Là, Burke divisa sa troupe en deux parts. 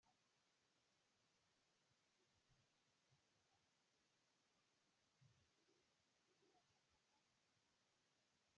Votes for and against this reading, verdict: 0, 2, rejected